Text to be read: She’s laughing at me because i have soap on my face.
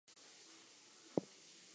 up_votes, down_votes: 2, 0